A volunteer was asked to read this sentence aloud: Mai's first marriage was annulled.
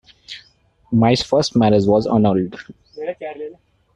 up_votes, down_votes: 2, 1